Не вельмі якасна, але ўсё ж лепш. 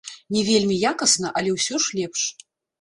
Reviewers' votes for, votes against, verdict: 1, 2, rejected